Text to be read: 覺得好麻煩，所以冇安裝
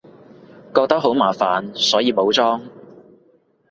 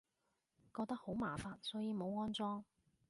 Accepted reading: second